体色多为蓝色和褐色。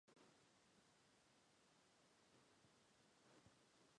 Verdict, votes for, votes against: rejected, 0, 2